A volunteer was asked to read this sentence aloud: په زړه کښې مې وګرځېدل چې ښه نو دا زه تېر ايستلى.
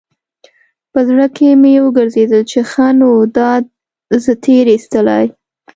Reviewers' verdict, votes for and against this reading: accepted, 2, 0